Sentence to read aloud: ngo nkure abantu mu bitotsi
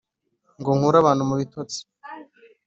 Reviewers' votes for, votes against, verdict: 3, 0, accepted